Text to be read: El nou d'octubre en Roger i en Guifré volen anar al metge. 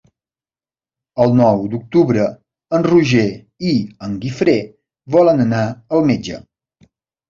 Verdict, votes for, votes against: accepted, 3, 0